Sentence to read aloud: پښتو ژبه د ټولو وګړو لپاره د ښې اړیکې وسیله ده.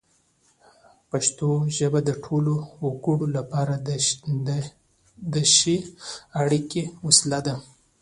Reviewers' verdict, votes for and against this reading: accepted, 2, 1